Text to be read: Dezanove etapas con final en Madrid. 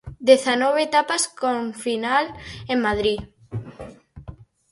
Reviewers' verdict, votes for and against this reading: rejected, 2, 2